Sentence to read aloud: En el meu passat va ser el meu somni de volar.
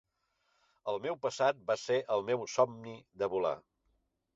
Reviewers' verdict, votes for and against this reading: rejected, 1, 2